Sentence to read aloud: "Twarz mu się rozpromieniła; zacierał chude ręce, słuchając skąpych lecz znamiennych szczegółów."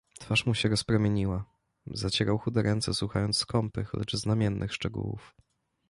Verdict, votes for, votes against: accepted, 2, 0